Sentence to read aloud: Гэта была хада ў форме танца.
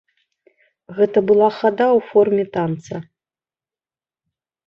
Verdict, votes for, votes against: accepted, 2, 0